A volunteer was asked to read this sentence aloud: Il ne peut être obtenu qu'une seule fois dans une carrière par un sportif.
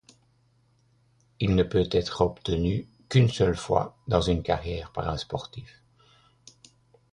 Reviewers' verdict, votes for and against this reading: accepted, 2, 0